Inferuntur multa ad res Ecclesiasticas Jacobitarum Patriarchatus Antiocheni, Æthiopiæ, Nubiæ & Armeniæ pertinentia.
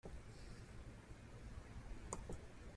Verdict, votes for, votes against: rejected, 1, 2